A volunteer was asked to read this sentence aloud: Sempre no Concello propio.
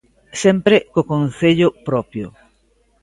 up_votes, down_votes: 0, 2